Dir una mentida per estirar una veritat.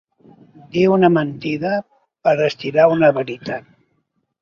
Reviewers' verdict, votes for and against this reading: accepted, 2, 0